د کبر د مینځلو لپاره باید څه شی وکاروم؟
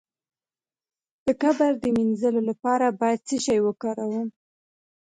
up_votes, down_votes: 2, 0